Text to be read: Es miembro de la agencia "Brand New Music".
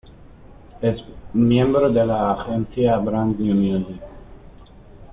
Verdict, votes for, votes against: rejected, 1, 2